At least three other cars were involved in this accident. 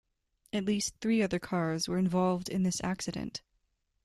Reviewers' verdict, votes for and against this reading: accepted, 2, 0